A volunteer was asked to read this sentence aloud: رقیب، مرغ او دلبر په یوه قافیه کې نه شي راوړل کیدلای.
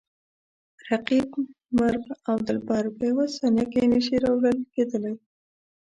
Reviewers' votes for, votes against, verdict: 0, 2, rejected